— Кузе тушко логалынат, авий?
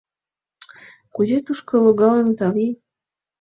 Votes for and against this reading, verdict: 2, 0, accepted